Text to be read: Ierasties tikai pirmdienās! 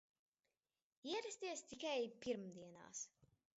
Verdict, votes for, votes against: rejected, 0, 2